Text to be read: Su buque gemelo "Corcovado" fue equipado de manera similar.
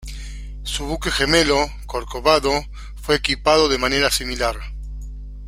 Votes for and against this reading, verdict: 2, 0, accepted